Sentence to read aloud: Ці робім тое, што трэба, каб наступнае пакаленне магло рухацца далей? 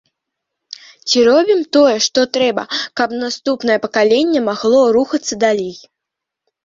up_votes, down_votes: 2, 1